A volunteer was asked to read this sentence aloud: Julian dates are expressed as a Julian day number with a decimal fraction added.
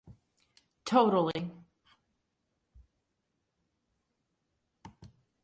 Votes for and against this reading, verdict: 0, 2, rejected